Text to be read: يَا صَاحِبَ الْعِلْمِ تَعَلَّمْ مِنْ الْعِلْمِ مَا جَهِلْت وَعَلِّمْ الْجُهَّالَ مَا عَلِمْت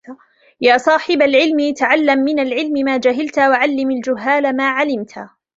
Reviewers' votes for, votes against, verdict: 2, 0, accepted